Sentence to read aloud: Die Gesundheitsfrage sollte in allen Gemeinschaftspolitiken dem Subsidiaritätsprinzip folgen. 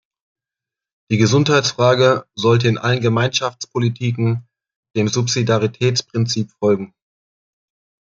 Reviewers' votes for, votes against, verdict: 2, 0, accepted